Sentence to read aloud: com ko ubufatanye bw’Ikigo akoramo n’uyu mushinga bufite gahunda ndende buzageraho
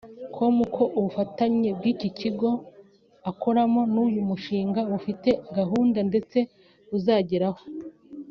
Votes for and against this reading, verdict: 1, 2, rejected